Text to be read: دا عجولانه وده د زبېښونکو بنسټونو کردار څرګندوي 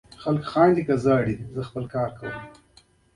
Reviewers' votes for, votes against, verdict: 0, 2, rejected